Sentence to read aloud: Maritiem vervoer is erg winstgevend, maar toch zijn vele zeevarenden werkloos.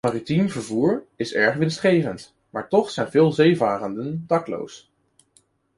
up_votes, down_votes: 1, 2